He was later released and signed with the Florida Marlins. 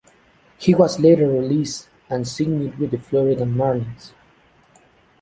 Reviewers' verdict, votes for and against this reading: accepted, 2, 0